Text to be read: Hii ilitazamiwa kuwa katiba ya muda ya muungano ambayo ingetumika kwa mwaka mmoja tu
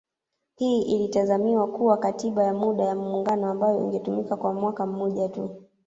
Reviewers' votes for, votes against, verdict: 0, 2, rejected